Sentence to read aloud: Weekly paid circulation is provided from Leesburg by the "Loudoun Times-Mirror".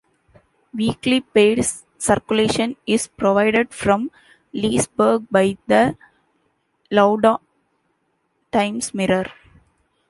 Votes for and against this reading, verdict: 1, 2, rejected